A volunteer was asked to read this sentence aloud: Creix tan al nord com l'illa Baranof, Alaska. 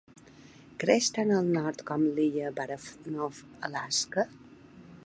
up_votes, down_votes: 0, 2